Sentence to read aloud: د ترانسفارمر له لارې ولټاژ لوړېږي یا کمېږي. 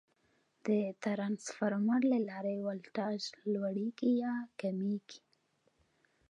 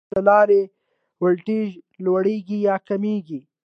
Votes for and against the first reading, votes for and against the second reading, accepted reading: 2, 0, 0, 2, first